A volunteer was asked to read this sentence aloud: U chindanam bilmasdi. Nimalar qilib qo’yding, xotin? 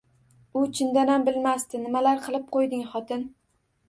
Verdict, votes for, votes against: accepted, 2, 0